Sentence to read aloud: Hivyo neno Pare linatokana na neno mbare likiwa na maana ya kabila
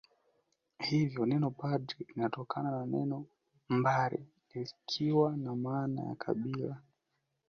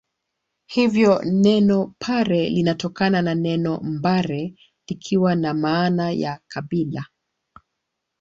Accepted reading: second